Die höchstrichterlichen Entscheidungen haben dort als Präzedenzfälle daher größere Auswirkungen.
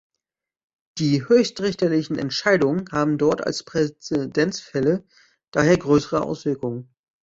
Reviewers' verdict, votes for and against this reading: rejected, 1, 2